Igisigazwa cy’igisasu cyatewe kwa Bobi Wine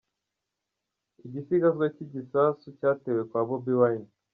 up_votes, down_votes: 2, 0